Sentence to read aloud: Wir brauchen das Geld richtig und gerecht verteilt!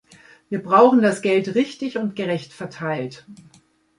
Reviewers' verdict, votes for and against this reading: accepted, 2, 0